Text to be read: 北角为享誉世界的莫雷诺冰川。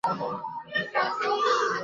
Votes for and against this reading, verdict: 0, 3, rejected